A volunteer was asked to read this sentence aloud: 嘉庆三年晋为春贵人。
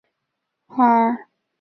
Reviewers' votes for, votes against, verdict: 0, 2, rejected